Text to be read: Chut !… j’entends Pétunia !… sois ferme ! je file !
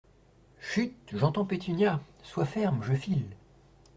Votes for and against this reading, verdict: 2, 0, accepted